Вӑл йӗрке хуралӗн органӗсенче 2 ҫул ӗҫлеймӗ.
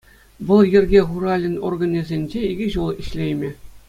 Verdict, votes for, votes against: rejected, 0, 2